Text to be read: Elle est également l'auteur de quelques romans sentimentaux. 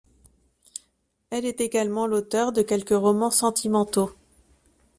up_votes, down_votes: 2, 0